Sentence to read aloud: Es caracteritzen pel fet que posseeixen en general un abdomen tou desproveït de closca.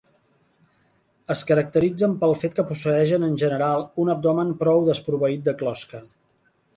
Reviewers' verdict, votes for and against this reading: rejected, 1, 2